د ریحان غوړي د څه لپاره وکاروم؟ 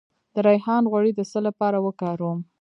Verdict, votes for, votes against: rejected, 1, 2